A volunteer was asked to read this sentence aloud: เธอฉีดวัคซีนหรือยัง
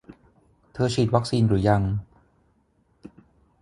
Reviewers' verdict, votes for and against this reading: accepted, 6, 0